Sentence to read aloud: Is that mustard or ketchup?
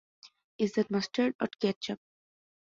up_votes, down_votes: 2, 0